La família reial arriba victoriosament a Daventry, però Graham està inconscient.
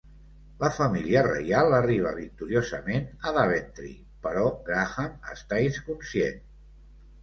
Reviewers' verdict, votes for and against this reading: rejected, 0, 2